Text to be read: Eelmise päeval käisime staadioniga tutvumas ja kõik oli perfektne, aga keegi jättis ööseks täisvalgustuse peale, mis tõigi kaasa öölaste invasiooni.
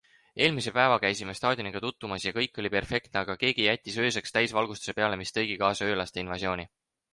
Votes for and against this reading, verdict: 4, 0, accepted